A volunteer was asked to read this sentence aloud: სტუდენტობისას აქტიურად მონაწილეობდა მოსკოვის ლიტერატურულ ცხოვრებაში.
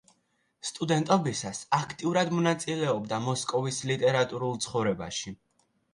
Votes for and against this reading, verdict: 2, 0, accepted